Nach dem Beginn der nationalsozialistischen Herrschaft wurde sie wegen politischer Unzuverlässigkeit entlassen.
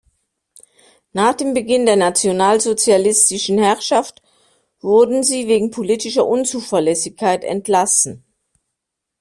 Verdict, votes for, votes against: rejected, 1, 2